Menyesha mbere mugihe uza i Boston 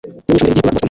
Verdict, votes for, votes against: rejected, 1, 2